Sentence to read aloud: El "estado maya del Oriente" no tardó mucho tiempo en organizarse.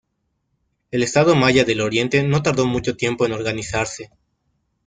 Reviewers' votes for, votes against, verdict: 2, 0, accepted